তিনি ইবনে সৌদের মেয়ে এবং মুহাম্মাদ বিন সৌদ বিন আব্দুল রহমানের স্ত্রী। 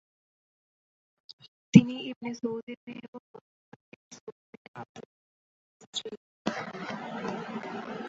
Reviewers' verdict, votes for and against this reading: rejected, 0, 2